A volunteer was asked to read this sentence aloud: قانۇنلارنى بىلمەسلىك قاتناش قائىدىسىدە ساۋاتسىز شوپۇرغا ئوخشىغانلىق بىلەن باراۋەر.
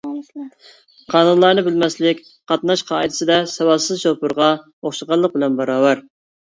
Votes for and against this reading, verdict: 2, 0, accepted